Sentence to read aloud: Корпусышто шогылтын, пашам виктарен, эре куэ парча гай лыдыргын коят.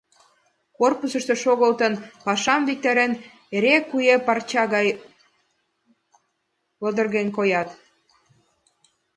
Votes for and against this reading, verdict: 2, 0, accepted